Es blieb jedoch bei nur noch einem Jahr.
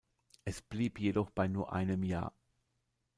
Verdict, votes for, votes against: rejected, 0, 2